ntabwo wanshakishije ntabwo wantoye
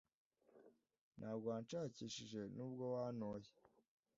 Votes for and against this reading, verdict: 1, 2, rejected